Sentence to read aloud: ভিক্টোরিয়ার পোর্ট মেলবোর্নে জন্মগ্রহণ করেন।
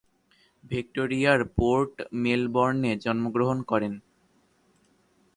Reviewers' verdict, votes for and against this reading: accepted, 2, 0